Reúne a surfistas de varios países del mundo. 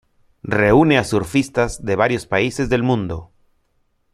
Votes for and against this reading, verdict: 2, 0, accepted